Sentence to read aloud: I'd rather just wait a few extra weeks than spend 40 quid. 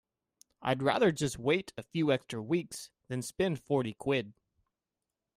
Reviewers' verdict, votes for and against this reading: rejected, 0, 2